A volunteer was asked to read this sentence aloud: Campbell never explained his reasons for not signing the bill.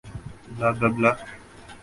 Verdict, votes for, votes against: rejected, 0, 3